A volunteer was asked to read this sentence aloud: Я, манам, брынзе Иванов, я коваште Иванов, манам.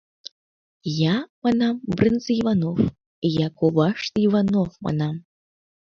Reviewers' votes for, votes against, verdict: 2, 0, accepted